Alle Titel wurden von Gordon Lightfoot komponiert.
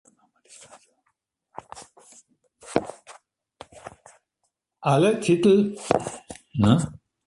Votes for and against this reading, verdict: 0, 2, rejected